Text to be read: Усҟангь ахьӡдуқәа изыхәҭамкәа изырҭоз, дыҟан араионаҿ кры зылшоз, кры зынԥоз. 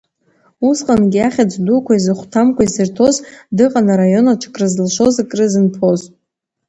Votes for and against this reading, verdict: 1, 2, rejected